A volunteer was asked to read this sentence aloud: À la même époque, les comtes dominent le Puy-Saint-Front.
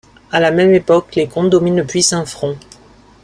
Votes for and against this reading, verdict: 0, 2, rejected